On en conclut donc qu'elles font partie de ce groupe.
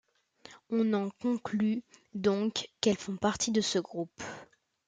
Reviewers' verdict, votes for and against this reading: accepted, 2, 0